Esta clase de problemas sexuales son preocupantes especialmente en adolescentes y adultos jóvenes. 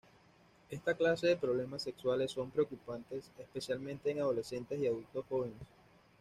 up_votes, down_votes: 2, 0